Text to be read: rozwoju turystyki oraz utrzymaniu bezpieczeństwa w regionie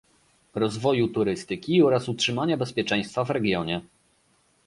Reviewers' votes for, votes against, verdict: 0, 2, rejected